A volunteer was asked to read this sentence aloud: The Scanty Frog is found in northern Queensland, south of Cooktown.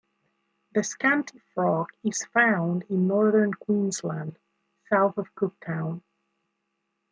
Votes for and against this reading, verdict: 2, 0, accepted